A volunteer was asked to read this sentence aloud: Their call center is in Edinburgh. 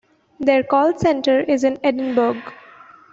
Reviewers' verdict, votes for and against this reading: rejected, 1, 2